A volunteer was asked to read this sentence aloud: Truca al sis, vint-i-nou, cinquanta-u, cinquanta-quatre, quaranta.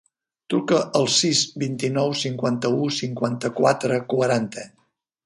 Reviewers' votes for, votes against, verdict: 3, 0, accepted